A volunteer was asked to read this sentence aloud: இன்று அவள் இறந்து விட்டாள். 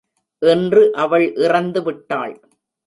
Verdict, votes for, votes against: rejected, 0, 2